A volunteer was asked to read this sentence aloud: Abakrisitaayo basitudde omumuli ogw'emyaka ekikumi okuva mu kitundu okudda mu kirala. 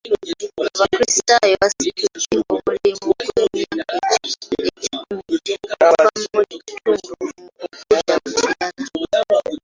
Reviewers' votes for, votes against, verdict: 0, 2, rejected